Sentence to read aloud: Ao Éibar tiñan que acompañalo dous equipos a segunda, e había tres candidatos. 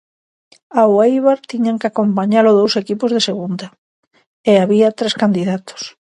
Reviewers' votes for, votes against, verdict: 0, 2, rejected